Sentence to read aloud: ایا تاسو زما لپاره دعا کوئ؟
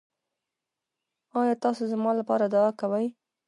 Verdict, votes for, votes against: accepted, 2, 1